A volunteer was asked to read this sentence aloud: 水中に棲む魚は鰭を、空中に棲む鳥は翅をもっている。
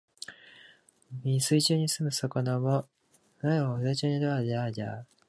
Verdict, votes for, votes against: rejected, 1, 2